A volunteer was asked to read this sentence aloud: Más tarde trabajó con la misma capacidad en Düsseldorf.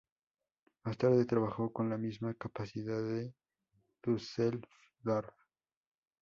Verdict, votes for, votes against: rejected, 0, 2